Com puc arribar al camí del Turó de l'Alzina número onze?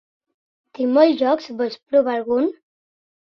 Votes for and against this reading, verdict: 0, 2, rejected